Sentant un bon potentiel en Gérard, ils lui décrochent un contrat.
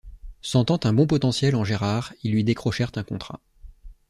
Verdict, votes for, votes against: rejected, 2, 3